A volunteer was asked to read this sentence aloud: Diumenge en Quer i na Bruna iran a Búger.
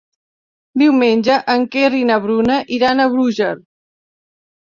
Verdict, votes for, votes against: accepted, 2, 0